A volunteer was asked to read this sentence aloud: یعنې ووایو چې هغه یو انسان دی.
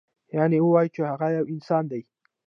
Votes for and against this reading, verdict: 0, 2, rejected